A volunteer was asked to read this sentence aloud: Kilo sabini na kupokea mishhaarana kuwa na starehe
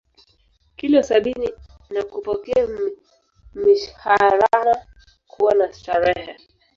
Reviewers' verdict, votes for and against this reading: rejected, 1, 2